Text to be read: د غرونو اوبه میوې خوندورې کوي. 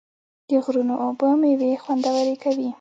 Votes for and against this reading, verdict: 2, 0, accepted